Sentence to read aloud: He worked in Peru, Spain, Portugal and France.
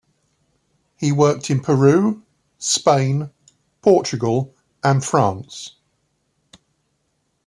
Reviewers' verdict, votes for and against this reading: accepted, 3, 0